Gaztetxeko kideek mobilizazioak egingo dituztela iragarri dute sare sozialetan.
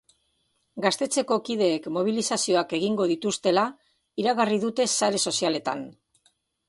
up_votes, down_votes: 2, 0